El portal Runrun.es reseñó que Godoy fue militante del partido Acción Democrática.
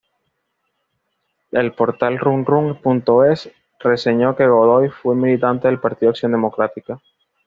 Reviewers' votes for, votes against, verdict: 2, 0, accepted